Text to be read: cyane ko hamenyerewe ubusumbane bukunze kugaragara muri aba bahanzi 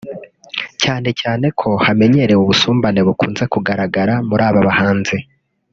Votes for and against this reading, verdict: 0, 2, rejected